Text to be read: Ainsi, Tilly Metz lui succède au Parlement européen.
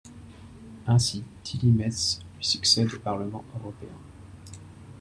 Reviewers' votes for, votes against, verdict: 2, 0, accepted